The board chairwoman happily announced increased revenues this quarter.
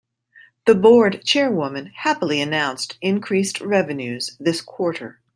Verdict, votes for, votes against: accepted, 2, 0